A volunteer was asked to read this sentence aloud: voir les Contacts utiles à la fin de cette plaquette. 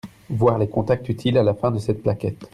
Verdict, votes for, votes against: accepted, 2, 0